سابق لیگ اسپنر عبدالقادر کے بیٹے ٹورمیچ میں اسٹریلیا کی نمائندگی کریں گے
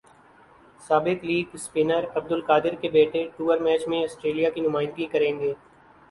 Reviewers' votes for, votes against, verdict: 2, 0, accepted